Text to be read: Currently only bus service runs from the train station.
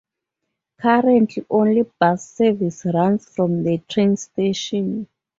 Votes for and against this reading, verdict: 2, 4, rejected